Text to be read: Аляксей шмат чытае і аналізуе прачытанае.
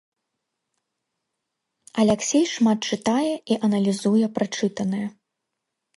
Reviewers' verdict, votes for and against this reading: accepted, 2, 0